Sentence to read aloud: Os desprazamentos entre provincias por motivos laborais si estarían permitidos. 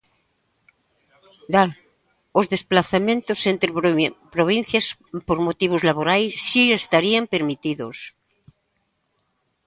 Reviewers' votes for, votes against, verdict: 0, 2, rejected